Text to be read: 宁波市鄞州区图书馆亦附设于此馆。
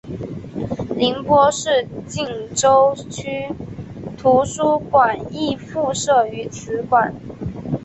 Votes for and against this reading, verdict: 5, 1, accepted